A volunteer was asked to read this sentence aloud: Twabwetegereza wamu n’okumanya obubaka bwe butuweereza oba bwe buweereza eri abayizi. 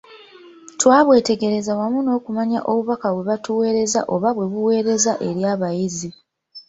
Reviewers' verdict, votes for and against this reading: accepted, 2, 0